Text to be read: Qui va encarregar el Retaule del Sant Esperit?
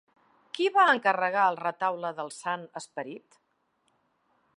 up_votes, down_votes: 2, 0